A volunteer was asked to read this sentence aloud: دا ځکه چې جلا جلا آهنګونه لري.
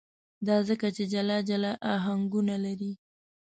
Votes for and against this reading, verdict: 2, 0, accepted